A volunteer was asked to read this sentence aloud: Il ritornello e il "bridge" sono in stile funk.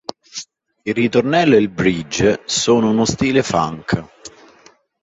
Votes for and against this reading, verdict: 1, 2, rejected